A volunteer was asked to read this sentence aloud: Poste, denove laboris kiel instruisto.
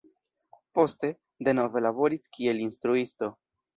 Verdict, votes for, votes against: rejected, 1, 2